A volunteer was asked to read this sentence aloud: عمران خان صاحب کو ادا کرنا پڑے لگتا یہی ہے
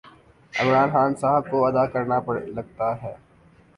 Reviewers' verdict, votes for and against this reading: rejected, 1, 2